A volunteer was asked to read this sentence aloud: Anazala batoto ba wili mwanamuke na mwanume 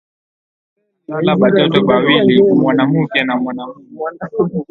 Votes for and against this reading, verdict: 0, 4, rejected